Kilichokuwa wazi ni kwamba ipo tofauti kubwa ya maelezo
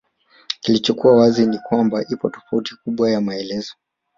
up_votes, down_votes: 4, 2